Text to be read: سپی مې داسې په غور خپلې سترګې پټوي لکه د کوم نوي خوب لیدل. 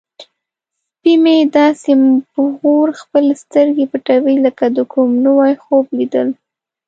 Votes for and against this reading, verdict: 0, 2, rejected